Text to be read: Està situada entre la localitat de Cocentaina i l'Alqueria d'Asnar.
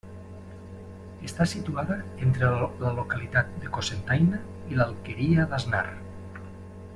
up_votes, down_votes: 0, 2